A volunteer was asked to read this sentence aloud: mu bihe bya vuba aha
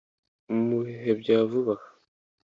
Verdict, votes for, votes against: accepted, 2, 0